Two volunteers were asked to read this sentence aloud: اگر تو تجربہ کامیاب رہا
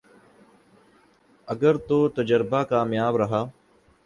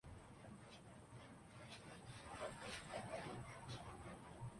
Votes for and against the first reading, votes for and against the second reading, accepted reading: 15, 0, 1, 3, first